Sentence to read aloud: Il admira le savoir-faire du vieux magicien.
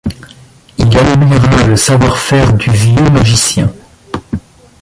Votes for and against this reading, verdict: 0, 2, rejected